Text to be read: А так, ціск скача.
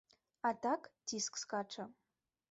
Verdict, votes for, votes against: accepted, 3, 0